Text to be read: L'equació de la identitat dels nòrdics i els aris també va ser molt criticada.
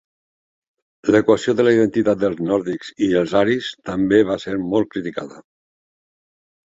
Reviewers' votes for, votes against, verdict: 3, 1, accepted